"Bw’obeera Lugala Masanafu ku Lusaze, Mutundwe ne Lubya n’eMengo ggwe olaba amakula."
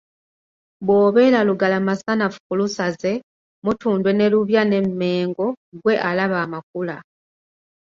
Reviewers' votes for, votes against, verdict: 1, 2, rejected